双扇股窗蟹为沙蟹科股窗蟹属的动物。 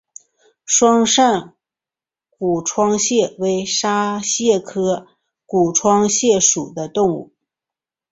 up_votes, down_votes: 7, 1